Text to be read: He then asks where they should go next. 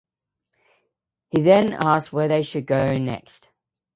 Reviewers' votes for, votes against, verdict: 2, 0, accepted